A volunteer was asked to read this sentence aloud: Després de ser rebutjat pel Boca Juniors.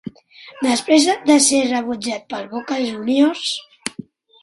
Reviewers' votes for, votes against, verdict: 3, 2, accepted